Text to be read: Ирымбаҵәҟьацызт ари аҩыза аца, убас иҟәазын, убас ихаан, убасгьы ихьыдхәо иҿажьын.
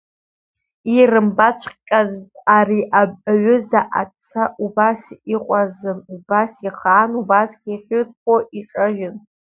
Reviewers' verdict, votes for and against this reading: rejected, 0, 2